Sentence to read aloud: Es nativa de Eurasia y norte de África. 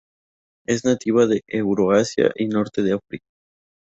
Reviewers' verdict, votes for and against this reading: rejected, 0, 2